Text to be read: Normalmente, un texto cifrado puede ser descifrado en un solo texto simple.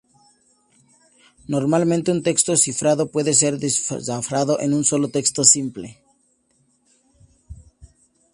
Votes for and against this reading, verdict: 0, 2, rejected